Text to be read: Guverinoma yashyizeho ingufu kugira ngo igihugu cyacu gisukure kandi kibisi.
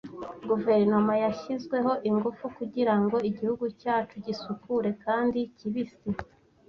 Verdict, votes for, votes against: rejected, 1, 2